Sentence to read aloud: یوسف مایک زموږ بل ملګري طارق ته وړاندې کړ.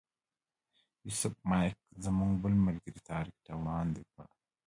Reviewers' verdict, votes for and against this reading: rejected, 0, 2